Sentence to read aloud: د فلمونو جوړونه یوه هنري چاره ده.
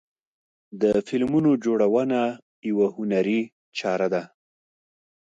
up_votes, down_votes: 3, 0